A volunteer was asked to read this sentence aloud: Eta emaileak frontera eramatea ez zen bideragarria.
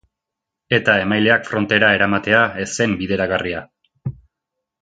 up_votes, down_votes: 2, 0